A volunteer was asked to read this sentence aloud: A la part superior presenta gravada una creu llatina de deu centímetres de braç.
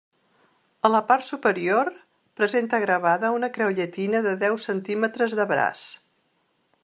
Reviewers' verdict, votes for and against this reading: accepted, 3, 0